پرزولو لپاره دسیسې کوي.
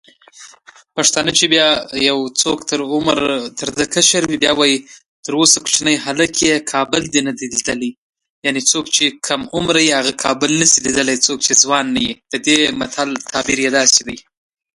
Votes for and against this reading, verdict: 0, 2, rejected